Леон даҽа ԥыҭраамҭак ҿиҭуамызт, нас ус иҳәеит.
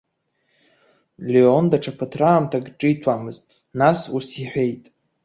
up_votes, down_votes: 2, 0